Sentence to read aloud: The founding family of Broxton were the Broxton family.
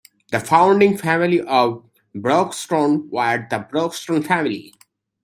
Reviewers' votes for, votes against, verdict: 2, 0, accepted